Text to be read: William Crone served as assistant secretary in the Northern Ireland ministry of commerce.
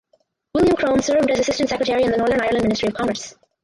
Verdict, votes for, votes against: rejected, 0, 2